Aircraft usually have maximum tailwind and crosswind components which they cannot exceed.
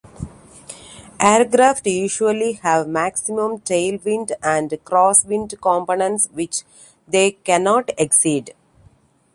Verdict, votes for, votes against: accepted, 2, 0